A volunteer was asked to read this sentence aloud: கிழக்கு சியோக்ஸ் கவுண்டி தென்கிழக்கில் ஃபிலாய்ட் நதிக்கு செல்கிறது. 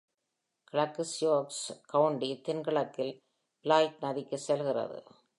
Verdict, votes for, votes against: accepted, 2, 0